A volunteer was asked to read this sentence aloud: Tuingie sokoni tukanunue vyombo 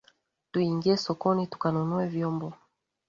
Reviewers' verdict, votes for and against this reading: accepted, 9, 0